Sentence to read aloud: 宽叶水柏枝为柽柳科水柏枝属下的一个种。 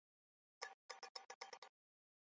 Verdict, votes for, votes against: rejected, 0, 2